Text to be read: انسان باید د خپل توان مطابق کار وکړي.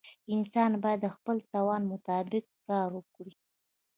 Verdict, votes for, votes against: rejected, 1, 2